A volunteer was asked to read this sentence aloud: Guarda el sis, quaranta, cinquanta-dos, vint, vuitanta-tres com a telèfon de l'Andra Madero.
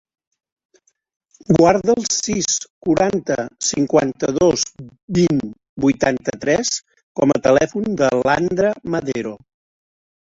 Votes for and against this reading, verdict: 2, 1, accepted